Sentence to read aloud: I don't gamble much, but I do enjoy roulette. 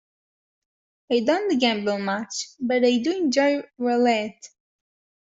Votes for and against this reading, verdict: 1, 2, rejected